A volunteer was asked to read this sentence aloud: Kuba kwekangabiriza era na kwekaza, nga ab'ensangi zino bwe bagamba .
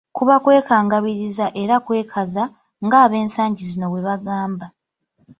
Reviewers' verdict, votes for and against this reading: rejected, 1, 2